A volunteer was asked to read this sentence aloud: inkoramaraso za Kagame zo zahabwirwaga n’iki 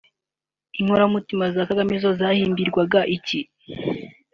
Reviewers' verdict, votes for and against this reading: rejected, 1, 2